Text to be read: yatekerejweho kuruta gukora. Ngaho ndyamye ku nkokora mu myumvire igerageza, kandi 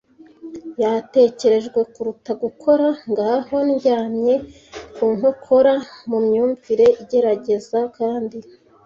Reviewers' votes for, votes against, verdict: 1, 2, rejected